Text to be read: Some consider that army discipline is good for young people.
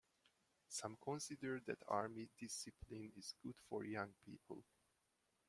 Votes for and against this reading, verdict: 1, 2, rejected